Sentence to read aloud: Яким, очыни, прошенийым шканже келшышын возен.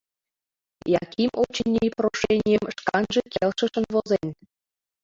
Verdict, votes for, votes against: accepted, 2, 1